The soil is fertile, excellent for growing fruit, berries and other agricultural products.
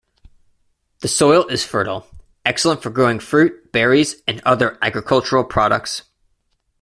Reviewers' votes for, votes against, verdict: 2, 0, accepted